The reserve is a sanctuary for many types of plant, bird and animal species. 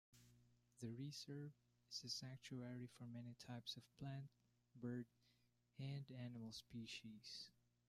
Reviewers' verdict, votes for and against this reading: rejected, 1, 2